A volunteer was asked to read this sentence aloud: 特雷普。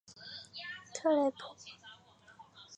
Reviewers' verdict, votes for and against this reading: rejected, 2, 2